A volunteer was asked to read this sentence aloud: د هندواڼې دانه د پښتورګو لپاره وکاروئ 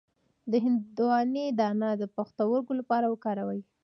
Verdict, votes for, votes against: accepted, 2, 1